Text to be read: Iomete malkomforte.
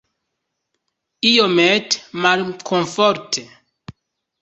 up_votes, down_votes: 2, 0